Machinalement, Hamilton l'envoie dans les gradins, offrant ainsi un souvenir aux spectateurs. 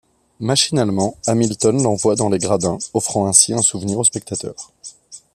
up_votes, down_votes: 2, 0